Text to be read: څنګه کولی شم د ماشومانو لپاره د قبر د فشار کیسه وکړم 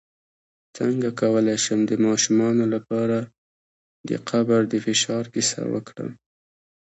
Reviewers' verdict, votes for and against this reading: rejected, 1, 2